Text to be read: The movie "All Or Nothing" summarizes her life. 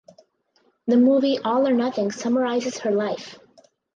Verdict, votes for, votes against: accepted, 2, 0